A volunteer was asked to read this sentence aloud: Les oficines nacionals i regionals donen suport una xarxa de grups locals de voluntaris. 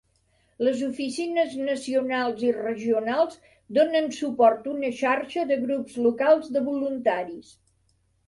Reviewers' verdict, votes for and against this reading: accepted, 3, 0